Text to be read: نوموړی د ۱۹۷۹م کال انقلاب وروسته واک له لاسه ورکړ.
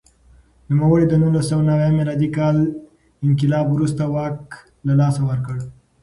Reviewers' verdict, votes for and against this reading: rejected, 0, 2